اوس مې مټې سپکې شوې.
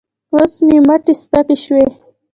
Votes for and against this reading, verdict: 1, 2, rejected